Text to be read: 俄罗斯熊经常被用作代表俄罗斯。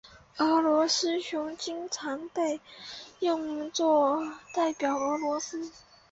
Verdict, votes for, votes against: accepted, 6, 2